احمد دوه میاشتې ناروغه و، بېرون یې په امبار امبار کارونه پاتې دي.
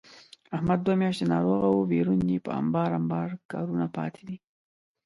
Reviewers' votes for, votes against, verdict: 0, 2, rejected